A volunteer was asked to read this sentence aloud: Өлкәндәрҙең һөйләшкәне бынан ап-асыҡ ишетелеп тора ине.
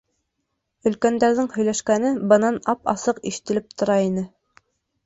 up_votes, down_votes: 2, 0